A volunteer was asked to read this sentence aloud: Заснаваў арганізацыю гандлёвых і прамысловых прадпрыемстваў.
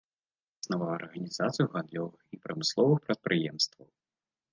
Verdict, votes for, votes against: accepted, 2, 0